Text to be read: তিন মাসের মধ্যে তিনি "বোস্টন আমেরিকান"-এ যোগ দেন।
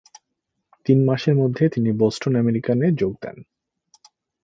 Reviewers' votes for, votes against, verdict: 2, 0, accepted